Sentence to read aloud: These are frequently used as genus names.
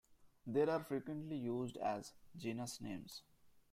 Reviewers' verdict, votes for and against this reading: rejected, 1, 2